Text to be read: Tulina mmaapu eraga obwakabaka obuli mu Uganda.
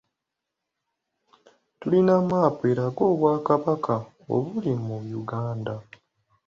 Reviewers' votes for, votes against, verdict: 2, 0, accepted